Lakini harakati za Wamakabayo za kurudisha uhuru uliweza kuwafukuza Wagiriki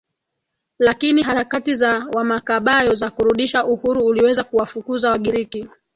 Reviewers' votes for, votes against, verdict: 2, 1, accepted